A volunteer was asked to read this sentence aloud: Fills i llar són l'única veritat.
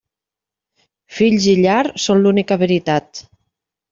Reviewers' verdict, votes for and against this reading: accepted, 3, 0